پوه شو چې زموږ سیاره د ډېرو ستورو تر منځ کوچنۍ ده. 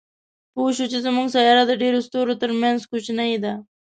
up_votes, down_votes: 2, 0